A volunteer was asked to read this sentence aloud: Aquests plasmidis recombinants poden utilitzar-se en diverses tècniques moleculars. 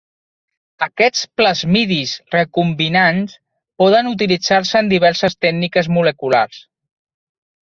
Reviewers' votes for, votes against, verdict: 2, 0, accepted